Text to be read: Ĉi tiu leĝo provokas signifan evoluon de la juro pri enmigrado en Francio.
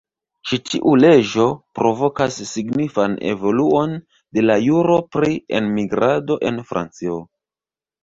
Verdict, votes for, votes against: rejected, 1, 2